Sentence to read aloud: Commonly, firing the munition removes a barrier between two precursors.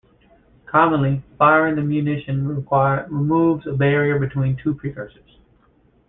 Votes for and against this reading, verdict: 1, 2, rejected